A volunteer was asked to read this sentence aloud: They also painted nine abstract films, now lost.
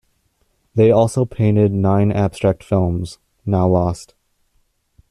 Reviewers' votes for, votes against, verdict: 2, 0, accepted